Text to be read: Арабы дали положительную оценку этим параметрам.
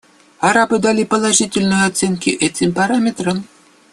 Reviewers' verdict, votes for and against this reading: accepted, 2, 1